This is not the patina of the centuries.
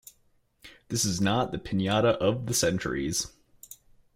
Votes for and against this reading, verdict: 2, 1, accepted